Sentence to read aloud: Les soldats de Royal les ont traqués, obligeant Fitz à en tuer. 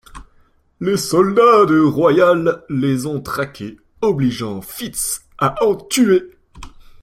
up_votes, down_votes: 0, 2